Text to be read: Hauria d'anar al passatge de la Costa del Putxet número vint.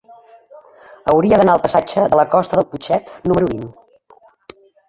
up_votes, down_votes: 2, 0